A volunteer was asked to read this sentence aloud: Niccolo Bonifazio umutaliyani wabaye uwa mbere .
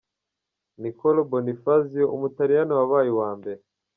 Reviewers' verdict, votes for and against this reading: accepted, 2, 0